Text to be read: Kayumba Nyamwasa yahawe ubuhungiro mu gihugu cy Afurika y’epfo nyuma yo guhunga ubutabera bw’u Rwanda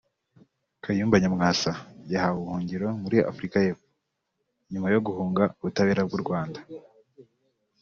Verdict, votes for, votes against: accepted, 2, 0